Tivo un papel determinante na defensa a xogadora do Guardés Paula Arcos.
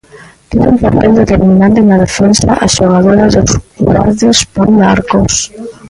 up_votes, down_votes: 0, 2